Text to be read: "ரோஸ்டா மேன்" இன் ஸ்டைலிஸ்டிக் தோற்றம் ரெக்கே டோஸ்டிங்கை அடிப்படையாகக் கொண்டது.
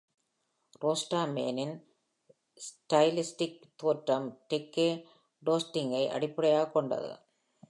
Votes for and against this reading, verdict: 2, 0, accepted